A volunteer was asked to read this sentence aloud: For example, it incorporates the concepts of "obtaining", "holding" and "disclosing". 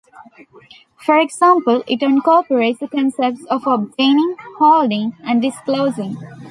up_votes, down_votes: 2, 0